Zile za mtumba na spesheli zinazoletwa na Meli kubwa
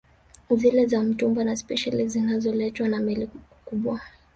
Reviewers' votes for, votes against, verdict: 3, 0, accepted